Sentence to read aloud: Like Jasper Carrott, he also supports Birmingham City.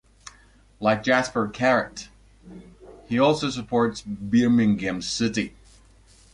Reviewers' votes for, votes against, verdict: 1, 2, rejected